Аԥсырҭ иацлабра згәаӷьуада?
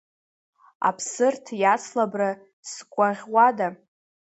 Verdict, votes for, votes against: rejected, 0, 2